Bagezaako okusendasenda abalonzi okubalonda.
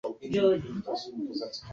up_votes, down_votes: 0, 2